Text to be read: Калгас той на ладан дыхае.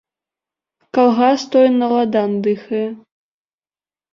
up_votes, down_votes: 0, 2